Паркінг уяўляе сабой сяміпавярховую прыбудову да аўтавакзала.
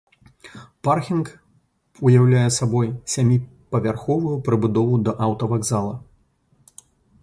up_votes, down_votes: 0, 2